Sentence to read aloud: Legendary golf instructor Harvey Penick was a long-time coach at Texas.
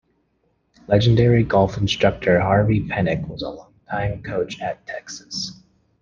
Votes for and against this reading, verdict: 0, 2, rejected